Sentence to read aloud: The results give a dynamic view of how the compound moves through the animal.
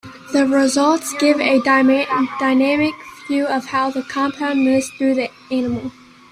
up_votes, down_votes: 0, 2